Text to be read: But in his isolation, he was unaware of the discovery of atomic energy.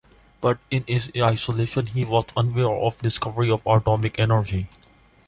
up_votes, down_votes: 2, 1